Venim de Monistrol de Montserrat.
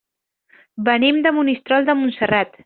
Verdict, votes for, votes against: accepted, 4, 0